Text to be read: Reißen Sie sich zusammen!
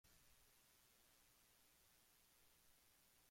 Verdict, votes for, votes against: rejected, 0, 4